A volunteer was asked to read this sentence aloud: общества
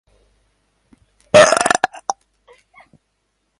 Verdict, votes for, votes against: rejected, 0, 2